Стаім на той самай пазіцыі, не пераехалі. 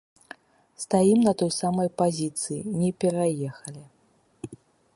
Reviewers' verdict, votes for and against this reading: accepted, 2, 0